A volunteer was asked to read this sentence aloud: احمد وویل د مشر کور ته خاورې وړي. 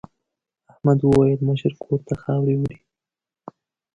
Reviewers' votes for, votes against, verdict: 2, 0, accepted